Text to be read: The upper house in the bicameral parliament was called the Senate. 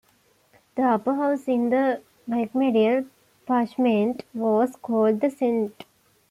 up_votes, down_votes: 1, 2